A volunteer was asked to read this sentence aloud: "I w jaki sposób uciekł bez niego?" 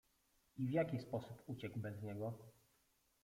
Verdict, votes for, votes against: rejected, 0, 2